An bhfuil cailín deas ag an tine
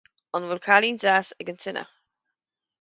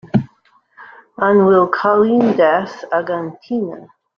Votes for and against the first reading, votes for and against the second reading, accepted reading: 4, 0, 0, 2, first